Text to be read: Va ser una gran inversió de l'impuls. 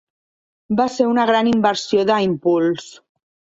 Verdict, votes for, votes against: rejected, 0, 2